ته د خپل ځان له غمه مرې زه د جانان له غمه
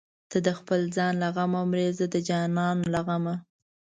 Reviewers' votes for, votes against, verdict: 2, 0, accepted